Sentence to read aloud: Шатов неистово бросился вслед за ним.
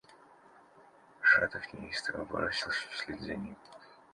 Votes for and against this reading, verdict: 1, 2, rejected